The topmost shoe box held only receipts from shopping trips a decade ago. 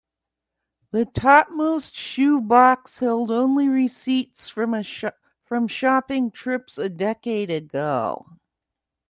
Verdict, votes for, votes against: rejected, 1, 2